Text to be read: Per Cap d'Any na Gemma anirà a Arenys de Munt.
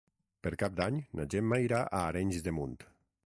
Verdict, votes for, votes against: rejected, 0, 6